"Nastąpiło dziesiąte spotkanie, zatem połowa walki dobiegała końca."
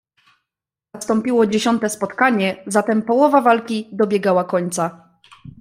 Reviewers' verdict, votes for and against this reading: rejected, 1, 2